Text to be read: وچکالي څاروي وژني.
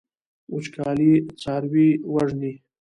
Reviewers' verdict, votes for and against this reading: rejected, 0, 2